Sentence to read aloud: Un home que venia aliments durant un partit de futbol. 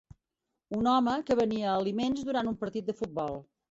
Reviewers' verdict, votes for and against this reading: accepted, 4, 0